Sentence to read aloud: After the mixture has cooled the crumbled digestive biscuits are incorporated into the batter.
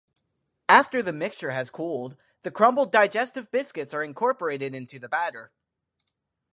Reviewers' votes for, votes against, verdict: 4, 0, accepted